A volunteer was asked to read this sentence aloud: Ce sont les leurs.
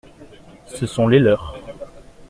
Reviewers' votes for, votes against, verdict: 2, 0, accepted